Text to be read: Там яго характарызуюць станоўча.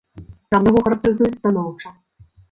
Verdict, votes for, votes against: rejected, 0, 2